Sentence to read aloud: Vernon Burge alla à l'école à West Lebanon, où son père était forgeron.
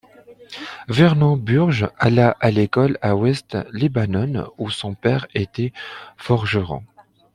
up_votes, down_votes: 2, 0